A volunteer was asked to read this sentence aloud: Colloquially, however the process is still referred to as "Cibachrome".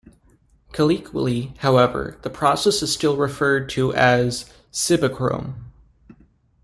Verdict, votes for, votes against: rejected, 0, 2